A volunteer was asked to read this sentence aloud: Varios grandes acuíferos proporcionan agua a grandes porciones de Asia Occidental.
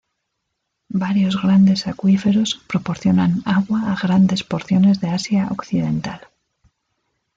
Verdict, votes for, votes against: accepted, 2, 0